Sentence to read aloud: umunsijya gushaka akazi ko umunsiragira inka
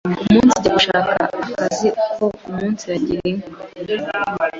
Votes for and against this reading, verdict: 1, 2, rejected